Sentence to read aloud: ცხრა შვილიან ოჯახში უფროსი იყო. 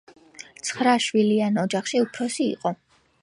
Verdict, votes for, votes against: accepted, 2, 0